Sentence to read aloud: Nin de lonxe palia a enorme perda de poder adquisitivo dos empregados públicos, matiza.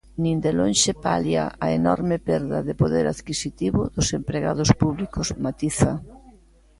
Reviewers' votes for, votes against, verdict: 0, 2, rejected